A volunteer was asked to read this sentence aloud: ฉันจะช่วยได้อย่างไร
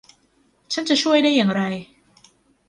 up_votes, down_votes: 0, 2